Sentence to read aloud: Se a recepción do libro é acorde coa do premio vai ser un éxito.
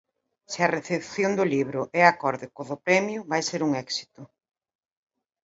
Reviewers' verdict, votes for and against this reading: accepted, 2, 1